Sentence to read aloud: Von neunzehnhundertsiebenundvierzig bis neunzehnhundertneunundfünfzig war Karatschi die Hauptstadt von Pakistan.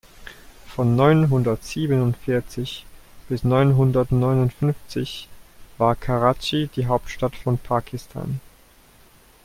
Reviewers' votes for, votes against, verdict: 2, 0, accepted